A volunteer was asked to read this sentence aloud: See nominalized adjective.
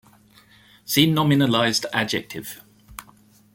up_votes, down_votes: 2, 0